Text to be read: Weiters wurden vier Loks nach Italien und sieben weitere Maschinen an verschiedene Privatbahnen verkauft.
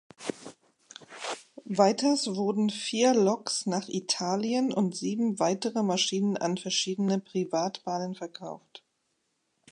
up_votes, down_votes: 2, 0